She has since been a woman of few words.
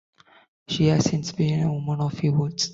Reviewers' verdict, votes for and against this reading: accepted, 2, 0